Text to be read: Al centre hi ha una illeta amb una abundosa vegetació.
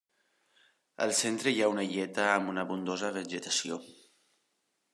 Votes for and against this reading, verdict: 2, 0, accepted